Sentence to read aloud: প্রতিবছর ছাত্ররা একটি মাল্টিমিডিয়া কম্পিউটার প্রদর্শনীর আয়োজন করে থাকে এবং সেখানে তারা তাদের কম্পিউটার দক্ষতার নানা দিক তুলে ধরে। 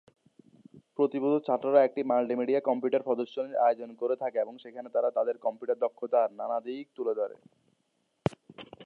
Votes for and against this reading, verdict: 2, 1, accepted